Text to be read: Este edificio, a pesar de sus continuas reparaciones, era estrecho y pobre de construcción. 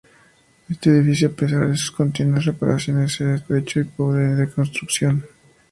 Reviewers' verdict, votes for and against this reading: accepted, 2, 0